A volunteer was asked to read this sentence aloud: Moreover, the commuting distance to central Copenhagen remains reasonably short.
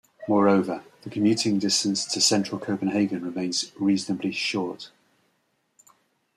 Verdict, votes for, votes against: accepted, 2, 0